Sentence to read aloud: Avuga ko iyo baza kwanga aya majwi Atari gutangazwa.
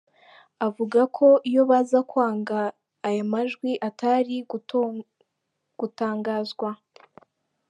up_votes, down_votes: 0, 3